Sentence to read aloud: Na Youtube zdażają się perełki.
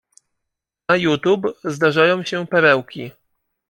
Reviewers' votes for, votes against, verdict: 2, 1, accepted